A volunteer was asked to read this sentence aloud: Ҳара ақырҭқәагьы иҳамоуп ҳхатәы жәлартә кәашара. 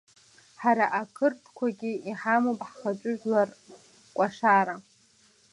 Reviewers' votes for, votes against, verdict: 0, 2, rejected